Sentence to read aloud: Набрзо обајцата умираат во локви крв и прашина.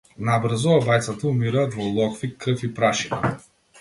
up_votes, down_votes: 2, 0